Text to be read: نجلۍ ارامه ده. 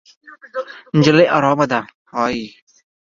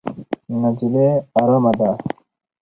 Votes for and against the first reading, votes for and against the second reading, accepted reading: 1, 2, 2, 0, second